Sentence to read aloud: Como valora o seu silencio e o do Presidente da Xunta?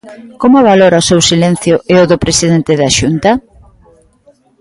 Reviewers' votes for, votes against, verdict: 1, 2, rejected